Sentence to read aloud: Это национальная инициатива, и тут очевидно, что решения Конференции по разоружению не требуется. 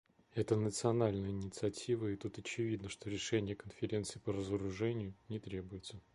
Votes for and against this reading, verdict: 2, 0, accepted